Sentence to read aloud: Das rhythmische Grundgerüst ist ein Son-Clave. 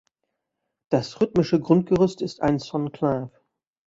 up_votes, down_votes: 0, 2